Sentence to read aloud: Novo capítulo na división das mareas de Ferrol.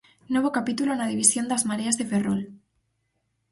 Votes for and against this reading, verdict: 2, 2, rejected